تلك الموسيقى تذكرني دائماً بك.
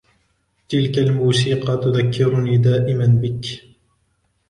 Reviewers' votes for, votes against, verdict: 2, 1, accepted